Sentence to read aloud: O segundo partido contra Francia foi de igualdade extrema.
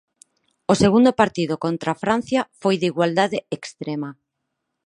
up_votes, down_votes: 4, 0